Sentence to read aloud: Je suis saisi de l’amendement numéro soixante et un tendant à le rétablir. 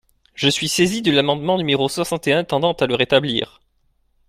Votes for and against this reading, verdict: 2, 0, accepted